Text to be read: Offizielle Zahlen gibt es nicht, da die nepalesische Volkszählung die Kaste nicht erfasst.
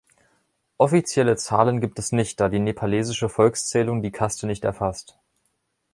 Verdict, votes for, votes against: accepted, 2, 0